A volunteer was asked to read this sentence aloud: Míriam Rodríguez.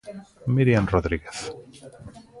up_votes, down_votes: 2, 0